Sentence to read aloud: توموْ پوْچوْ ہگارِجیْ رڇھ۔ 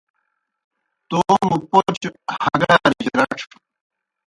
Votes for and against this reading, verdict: 0, 2, rejected